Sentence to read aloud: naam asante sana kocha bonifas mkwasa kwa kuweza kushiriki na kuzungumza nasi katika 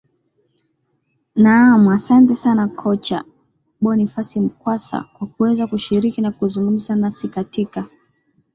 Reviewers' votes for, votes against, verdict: 10, 2, accepted